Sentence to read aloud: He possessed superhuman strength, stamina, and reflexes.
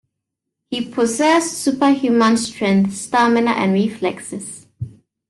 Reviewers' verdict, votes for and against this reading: accepted, 2, 0